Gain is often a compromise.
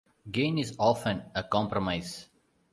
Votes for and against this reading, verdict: 3, 0, accepted